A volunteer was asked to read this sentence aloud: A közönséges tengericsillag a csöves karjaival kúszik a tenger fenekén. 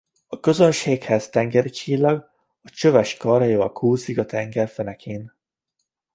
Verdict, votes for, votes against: rejected, 0, 2